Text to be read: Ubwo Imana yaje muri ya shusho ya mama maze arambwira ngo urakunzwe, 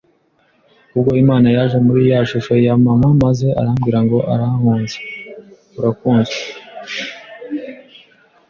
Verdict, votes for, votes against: rejected, 0, 2